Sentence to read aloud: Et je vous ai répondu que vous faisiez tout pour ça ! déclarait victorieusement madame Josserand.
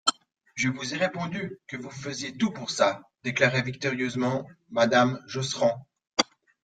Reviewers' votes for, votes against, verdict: 1, 2, rejected